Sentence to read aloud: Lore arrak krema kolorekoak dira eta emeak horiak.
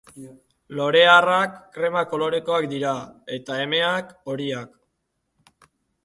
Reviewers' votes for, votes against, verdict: 2, 0, accepted